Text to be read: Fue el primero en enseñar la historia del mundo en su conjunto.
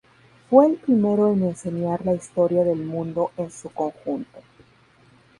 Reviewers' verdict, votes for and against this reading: rejected, 2, 2